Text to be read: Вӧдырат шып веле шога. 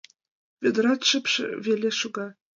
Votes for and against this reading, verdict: 2, 0, accepted